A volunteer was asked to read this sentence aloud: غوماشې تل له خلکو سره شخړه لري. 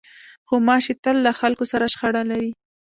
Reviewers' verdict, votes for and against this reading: rejected, 1, 2